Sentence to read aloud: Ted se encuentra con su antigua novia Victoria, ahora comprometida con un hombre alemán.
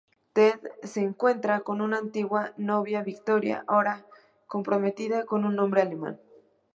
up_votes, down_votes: 0, 2